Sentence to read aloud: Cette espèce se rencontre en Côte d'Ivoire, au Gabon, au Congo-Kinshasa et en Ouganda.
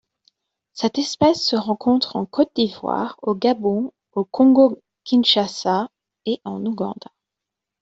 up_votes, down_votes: 0, 2